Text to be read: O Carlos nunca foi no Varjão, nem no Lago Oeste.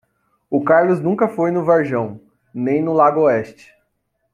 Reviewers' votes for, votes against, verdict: 3, 0, accepted